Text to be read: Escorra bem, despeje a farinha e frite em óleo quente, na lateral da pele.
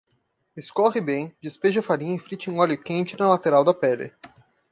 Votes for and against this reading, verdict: 0, 2, rejected